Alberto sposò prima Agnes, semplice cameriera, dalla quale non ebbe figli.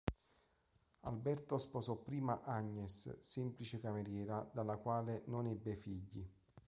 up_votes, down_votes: 1, 2